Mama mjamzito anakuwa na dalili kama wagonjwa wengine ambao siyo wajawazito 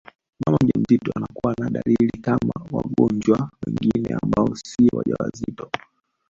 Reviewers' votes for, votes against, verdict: 0, 2, rejected